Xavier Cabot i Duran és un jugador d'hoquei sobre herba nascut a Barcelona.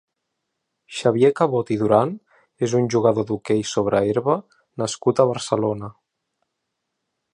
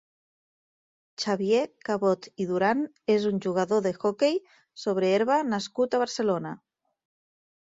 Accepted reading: first